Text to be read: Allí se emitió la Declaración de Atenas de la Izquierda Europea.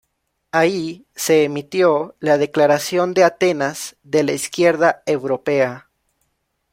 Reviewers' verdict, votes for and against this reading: rejected, 1, 2